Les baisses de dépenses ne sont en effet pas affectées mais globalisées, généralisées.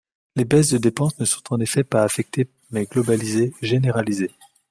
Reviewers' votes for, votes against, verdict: 2, 0, accepted